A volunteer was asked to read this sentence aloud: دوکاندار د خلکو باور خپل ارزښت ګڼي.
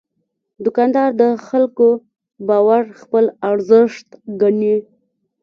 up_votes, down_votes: 1, 2